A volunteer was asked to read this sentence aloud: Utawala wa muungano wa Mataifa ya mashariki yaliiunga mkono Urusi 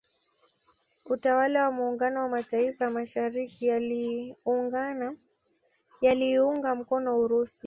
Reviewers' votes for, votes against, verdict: 1, 2, rejected